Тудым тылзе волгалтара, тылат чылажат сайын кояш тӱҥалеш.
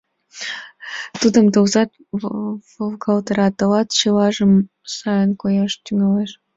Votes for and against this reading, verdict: 1, 2, rejected